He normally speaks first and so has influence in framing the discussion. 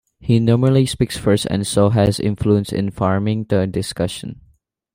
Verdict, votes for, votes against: rejected, 1, 2